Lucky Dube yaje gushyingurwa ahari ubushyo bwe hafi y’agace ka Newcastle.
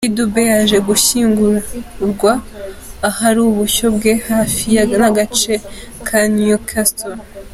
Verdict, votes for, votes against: accepted, 2, 1